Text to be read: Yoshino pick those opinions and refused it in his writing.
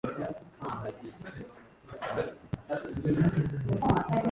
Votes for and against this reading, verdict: 0, 2, rejected